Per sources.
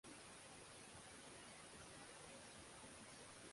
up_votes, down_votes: 6, 12